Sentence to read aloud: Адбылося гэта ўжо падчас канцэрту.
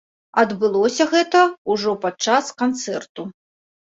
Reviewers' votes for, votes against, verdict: 1, 2, rejected